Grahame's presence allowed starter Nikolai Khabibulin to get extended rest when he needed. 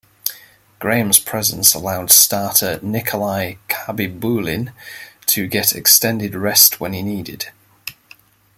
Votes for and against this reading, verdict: 2, 0, accepted